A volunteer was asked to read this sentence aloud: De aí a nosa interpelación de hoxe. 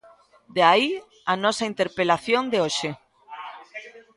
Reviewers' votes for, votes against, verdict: 1, 2, rejected